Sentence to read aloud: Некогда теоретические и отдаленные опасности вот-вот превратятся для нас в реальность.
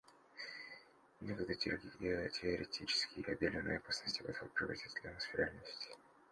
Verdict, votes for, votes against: rejected, 1, 2